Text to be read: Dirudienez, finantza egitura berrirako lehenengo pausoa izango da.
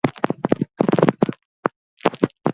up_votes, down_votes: 0, 8